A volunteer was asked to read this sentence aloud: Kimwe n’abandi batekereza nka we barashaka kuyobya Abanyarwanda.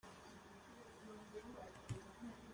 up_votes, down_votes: 0, 2